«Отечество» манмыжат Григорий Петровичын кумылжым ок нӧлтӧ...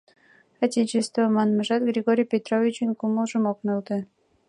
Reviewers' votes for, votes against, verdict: 2, 1, accepted